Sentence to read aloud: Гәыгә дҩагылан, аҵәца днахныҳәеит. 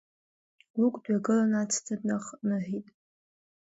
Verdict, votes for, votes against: rejected, 1, 2